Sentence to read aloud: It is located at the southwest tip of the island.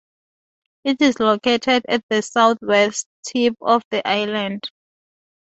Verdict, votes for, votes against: accepted, 2, 0